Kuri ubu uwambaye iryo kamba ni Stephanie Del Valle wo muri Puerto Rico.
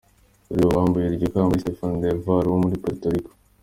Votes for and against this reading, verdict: 2, 1, accepted